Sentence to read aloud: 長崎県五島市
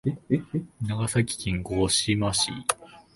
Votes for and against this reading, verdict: 1, 3, rejected